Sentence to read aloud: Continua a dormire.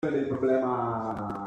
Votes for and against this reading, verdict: 0, 2, rejected